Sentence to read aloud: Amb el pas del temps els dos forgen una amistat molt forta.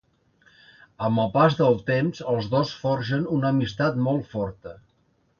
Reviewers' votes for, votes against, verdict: 2, 0, accepted